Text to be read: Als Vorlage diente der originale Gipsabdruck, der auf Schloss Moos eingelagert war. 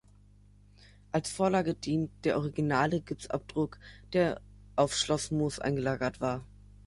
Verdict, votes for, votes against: accepted, 4, 2